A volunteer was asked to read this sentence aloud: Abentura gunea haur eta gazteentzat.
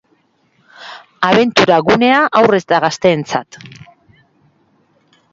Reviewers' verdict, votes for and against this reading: accepted, 4, 1